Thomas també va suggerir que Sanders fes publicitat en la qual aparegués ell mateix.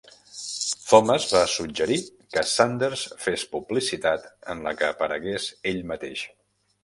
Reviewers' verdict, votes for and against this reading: rejected, 0, 2